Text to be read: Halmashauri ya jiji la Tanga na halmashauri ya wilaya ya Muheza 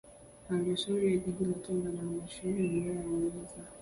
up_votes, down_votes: 1, 2